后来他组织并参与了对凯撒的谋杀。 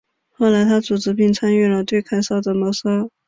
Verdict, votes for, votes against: rejected, 1, 2